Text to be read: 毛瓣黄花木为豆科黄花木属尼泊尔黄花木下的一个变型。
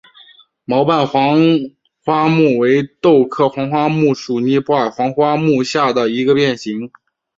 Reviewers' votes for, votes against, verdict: 2, 0, accepted